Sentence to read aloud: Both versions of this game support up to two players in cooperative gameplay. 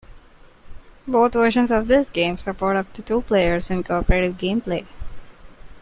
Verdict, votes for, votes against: accepted, 3, 0